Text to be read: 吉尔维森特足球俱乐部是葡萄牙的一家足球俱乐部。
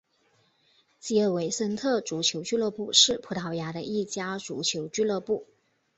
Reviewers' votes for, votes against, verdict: 4, 1, accepted